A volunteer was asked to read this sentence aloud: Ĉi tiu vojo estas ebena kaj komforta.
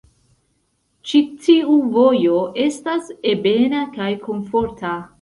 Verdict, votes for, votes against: rejected, 0, 2